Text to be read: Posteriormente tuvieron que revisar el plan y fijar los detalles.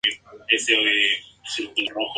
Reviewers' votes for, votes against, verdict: 0, 2, rejected